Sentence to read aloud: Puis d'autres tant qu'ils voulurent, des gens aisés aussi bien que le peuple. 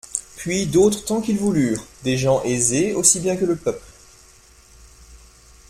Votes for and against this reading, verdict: 2, 0, accepted